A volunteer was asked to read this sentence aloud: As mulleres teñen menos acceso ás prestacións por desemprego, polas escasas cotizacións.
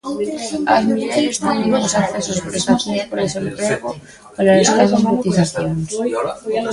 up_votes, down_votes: 0, 2